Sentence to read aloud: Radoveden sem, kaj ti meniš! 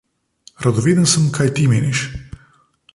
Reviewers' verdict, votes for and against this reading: accepted, 2, 0